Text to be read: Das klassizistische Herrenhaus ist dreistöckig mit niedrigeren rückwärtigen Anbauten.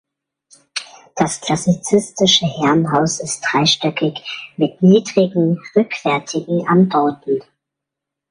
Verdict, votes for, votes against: rejected, 0, 2